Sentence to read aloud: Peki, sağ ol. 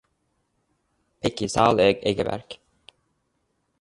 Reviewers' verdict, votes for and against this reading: rejected, 0, 2